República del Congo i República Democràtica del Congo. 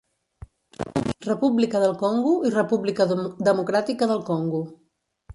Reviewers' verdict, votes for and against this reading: rejected, 1, 2